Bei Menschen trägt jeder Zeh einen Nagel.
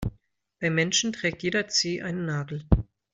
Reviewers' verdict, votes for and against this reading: accepted, 2, 0